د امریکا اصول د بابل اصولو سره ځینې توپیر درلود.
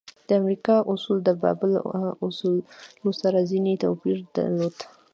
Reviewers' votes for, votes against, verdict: 1, 2, rejected